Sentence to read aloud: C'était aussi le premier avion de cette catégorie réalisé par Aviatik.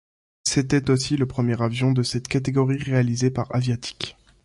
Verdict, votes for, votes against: accepted, 2, 0